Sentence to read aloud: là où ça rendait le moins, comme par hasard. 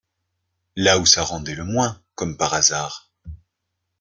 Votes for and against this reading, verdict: 2, 0, accepted